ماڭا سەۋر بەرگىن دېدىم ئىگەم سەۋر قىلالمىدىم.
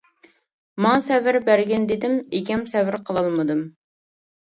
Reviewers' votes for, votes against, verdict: 2, 0, accepted